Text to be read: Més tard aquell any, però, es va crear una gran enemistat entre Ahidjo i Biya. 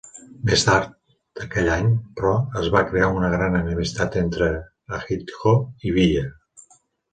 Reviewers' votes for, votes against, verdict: 2, 1, accepted